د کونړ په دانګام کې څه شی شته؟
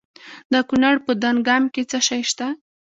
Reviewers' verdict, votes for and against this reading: rejected, 1, 2